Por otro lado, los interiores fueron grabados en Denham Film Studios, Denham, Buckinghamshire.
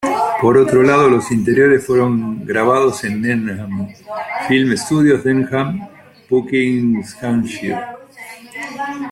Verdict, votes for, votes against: accepted, 2, 0